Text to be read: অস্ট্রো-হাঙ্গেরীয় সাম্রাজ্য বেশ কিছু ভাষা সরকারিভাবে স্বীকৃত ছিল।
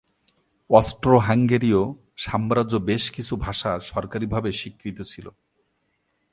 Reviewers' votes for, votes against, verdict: 2, 0, accepted